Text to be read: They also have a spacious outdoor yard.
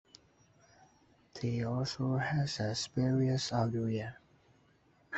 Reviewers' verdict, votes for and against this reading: rejected, 0, 2